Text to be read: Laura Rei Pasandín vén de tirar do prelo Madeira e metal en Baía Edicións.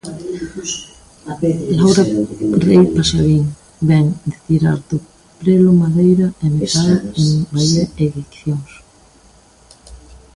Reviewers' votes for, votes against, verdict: 0, 2, rejected